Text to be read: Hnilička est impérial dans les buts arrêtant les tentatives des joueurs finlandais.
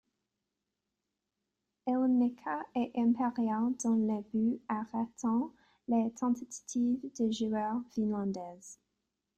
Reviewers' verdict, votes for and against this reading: rejected, 1, 2